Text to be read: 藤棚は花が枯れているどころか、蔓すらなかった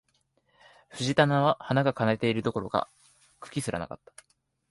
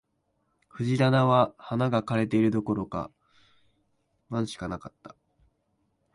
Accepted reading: first